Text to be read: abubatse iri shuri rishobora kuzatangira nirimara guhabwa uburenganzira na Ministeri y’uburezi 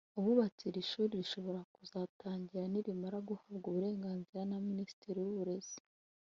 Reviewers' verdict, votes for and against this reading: rejected, 0, 2